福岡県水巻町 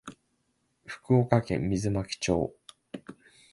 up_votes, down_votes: 2, 0